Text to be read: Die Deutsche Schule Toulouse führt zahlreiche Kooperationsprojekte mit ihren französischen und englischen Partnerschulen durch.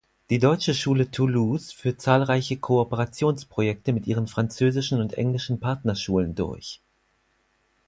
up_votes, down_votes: 4, 0